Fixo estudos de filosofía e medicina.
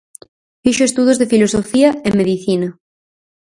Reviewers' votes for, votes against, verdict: 4, 0, accepted